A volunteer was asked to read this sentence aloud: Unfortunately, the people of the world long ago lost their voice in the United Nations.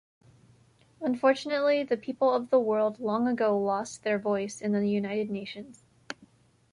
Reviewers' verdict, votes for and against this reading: accepted, 2, 0